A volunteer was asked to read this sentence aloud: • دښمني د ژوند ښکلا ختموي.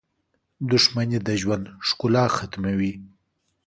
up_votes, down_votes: 2, 0